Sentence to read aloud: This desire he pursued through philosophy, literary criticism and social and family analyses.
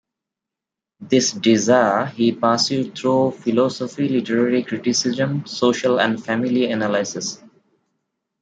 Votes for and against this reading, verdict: 1, 2, rejected